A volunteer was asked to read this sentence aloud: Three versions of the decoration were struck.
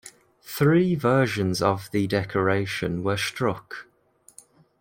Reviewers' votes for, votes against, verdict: 2, 0, accepted